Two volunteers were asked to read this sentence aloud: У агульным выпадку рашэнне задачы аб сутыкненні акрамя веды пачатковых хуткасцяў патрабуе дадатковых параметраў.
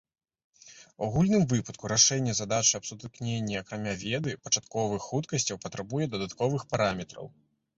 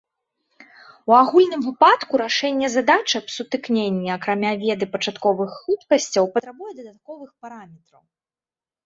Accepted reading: first